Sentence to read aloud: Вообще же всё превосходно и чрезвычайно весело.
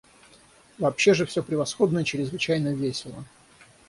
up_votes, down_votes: 0, 3